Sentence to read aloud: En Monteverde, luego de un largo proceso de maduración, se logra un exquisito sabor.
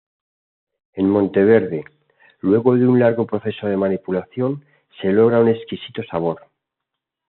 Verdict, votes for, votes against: rejected, 1, 2